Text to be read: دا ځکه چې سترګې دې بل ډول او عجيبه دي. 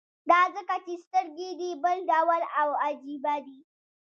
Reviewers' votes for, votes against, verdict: 0, 2, rejected